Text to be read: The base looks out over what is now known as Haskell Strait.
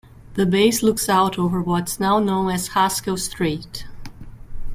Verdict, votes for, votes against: rejected, 0, 2